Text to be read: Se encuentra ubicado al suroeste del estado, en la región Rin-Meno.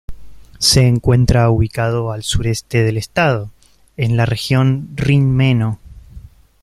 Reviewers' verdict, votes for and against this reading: accepted, 2, 1